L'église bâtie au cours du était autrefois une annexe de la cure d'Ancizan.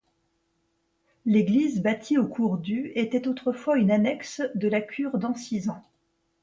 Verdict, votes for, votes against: accepted, 2, 0